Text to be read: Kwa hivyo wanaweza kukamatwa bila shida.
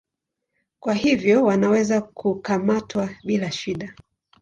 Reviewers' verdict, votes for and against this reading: accepted, 8, 2